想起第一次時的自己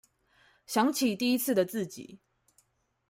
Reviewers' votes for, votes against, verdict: 0, 2, rejected